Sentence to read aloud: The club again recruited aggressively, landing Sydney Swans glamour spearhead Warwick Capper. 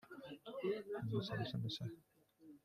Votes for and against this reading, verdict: 0, 2, rejected